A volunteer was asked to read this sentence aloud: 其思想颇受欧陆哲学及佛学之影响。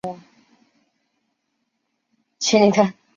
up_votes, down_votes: 0, 2